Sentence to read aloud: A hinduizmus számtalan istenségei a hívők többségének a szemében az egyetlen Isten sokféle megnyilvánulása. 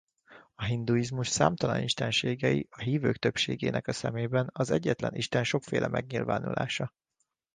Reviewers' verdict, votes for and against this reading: accepted, 2, 0